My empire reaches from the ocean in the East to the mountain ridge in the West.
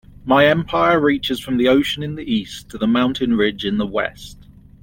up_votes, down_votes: 3, 0